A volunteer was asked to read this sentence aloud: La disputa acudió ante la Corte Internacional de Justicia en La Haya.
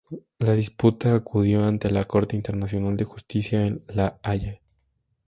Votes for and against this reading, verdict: 6, 0, accepted